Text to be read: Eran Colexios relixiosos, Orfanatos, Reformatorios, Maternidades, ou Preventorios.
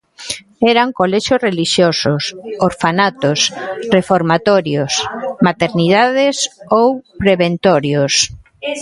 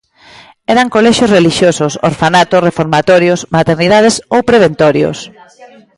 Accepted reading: second